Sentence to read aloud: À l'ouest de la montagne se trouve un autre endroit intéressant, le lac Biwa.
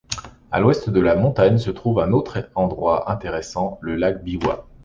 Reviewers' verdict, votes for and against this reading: accepted, 2, 1